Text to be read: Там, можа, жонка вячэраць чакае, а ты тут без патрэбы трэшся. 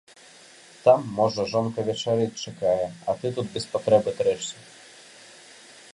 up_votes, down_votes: 1, 2